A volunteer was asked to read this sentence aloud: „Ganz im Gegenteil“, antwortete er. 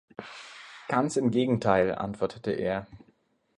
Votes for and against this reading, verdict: 2, 0, accepted